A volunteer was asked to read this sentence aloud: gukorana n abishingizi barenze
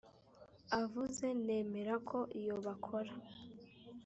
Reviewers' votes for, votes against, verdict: 1, 2, rejected